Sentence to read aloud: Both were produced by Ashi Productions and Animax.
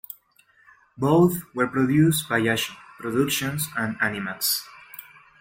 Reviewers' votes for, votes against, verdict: 2, 1, accepted